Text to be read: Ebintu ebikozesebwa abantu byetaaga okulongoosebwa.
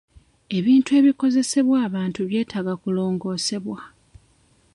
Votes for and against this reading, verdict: 1, 2, rejected